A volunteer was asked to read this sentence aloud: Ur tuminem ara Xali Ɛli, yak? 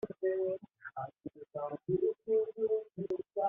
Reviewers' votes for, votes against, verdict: 0, 2, rejected